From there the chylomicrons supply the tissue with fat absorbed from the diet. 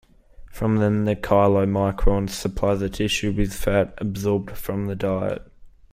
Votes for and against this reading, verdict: 1, 2, rejected